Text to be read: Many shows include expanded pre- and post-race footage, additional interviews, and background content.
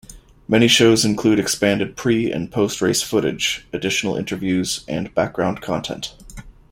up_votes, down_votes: 2, 0